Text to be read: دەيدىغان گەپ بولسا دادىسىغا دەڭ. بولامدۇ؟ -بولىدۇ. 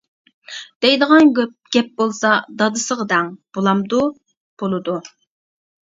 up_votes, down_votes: 0, 2